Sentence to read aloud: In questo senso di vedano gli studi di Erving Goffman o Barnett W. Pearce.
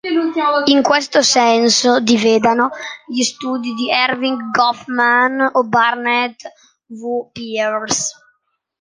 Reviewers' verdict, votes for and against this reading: rejected, 0, 2